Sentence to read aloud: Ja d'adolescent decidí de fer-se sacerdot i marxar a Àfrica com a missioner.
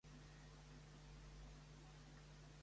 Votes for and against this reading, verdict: 0, 2, rejected